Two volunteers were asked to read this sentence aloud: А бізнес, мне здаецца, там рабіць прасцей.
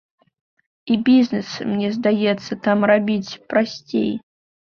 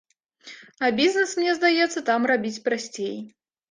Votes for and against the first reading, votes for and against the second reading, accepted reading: 1, 2, 2, 0, second